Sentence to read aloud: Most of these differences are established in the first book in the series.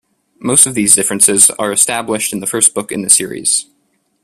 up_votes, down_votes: 2, 0